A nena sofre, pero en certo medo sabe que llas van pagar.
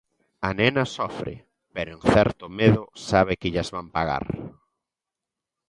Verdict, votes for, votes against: accepted, 2, 0